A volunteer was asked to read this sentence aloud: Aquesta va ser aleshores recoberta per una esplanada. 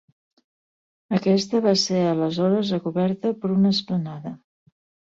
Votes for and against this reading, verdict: 2, 0, accepted